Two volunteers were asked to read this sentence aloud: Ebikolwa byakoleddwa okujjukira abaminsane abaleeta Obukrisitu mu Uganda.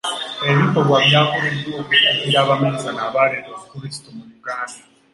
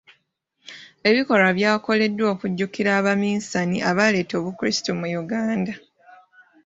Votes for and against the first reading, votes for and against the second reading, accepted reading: 1, 2, 2, 0, second